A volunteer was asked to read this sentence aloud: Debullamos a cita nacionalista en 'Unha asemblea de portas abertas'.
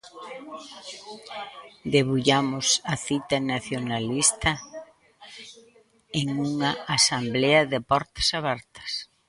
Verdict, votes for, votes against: rejected, 0, 2